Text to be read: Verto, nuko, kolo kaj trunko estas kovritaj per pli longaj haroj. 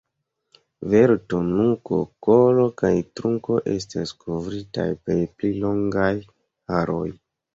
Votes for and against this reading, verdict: 1, 2, rejected